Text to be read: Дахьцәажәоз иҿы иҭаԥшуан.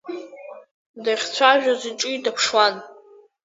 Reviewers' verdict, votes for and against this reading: rejected, 1, 2